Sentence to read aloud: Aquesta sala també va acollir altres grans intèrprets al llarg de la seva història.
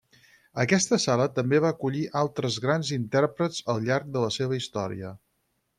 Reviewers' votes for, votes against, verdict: 6, 0, accepted